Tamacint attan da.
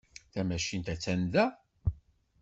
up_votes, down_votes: 2, 0